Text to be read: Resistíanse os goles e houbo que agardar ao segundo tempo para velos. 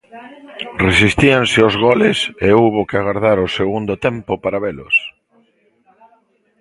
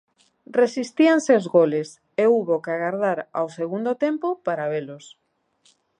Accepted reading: second